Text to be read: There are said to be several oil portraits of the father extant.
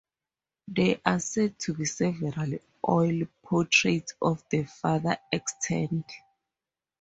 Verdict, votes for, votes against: accepted, 4, 0